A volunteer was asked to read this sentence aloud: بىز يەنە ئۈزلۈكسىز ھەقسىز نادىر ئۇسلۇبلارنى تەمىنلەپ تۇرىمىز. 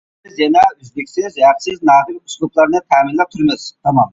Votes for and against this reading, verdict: 0, 2, rejected